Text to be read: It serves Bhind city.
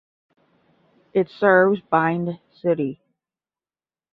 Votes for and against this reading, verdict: 5, 0, accepted